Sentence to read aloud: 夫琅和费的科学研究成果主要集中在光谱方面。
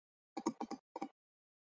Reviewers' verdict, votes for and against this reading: rejected, 0, 2